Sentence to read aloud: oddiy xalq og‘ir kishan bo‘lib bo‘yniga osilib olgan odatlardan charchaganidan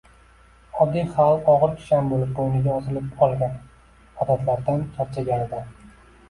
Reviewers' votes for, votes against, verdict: 2, 1, accepted